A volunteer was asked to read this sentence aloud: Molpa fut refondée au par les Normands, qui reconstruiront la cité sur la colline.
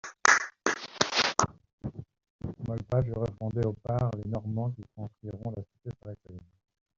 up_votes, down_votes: 0, 2